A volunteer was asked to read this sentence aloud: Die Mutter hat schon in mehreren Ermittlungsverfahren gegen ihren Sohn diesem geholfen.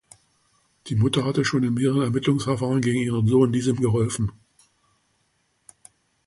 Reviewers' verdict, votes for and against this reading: rejected, 1, 2